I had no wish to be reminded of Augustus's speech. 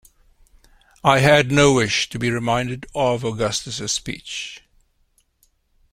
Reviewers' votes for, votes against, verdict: 2, 0, accepted